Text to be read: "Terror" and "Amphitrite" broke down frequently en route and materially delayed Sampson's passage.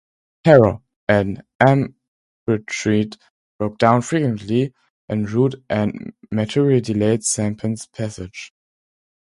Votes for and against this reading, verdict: 0, 2, rejected